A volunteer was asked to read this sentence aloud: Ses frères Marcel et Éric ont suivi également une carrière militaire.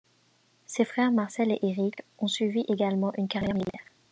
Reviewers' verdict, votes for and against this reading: rejected, 1, 2